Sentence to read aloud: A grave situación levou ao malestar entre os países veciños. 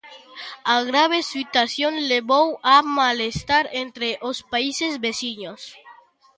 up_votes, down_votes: 0, 3